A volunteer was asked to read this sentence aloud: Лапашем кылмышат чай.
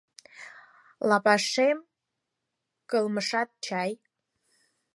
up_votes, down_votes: 4, 0